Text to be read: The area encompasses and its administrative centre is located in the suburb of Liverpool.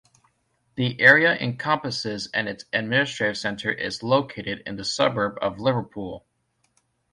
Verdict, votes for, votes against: accepted, 2, 0